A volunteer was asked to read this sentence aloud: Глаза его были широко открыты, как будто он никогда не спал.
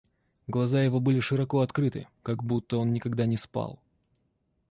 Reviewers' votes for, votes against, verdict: 2, 0, accepted